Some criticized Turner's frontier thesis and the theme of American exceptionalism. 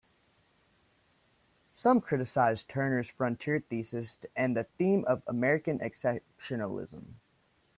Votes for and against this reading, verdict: 1, 2, rejected